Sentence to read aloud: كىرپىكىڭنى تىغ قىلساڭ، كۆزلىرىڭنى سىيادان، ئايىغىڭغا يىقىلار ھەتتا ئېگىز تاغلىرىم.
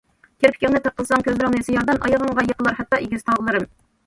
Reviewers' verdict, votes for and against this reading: rejected, 1, 2